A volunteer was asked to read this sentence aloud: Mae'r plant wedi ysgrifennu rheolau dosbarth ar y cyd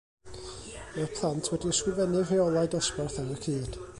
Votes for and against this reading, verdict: 1, 2, rejected